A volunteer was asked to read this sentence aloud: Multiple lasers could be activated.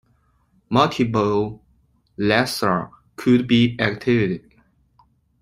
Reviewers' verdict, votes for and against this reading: rejected, 0, 2